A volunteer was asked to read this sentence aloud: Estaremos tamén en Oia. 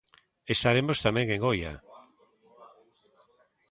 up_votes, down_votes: 1, 2